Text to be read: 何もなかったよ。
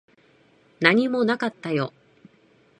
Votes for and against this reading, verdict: 2, 0, accepted